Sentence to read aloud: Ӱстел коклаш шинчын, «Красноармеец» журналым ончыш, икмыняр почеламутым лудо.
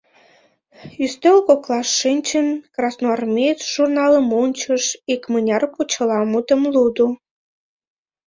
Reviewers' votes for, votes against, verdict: 2, 1, accepted